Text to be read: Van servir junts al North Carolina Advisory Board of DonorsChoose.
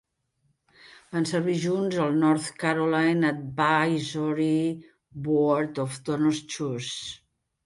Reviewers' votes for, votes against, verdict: 0, 2, rejected